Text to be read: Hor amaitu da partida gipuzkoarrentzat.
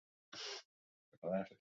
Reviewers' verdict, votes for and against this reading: rejected, 0, 4